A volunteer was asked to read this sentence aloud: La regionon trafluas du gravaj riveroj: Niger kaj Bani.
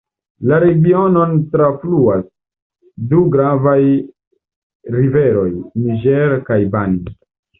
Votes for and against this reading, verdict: 1, 2, rejected